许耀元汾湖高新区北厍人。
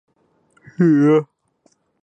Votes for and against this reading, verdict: 0, 2, rejected